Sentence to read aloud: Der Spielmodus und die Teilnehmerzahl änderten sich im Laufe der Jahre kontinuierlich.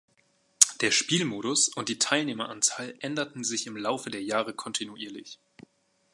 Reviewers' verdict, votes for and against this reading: rejected, 0, 2